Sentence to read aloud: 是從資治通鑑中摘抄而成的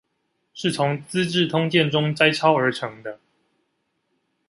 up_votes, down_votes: 2, 0